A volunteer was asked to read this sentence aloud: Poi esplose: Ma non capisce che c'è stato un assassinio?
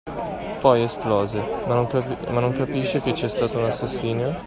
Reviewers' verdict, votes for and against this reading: rejected, 1, 2